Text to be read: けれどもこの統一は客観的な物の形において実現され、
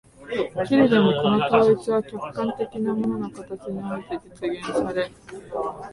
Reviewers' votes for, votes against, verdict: 0, 3, rejected